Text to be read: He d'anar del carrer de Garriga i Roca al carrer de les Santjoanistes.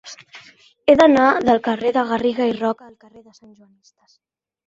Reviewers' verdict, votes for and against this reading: rejected, 1, 2